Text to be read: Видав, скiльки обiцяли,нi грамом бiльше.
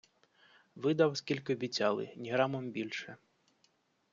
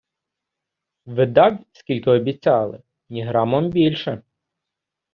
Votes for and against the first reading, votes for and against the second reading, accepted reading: 2, 0, 0, 2, first